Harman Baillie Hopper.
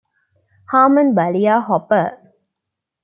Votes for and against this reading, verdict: 2, 0, accepted